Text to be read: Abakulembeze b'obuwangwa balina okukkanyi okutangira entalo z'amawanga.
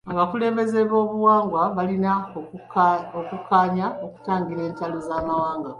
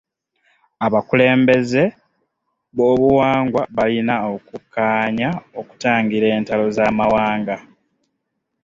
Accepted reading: first